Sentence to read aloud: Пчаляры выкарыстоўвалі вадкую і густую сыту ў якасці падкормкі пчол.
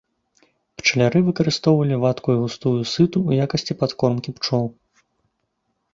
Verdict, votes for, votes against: accepted, 2, 0